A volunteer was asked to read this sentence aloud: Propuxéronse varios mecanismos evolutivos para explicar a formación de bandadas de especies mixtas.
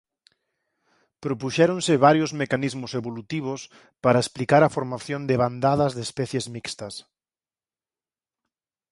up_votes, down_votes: 4, 0